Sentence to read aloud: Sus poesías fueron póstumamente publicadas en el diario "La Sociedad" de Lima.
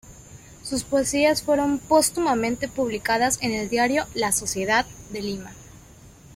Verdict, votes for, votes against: accepted, 2, 1